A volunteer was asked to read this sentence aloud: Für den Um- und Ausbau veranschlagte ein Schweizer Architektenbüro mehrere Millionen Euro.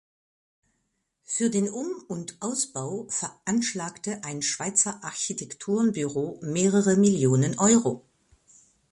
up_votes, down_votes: 0, 2